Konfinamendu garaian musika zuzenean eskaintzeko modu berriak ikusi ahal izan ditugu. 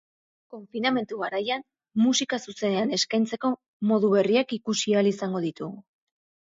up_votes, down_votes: 2, 4